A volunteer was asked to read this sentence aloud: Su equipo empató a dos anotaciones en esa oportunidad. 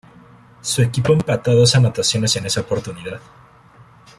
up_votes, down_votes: 1, 2